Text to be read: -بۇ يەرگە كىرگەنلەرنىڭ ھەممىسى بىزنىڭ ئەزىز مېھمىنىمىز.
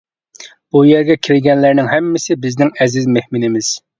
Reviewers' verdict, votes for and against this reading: accepted, 2, 0